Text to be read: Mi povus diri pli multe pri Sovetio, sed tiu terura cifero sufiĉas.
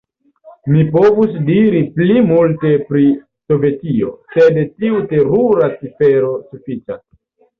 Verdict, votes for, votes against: accepted, 2, 0